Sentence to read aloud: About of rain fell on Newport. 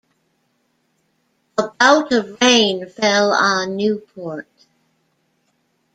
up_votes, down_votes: 1, 2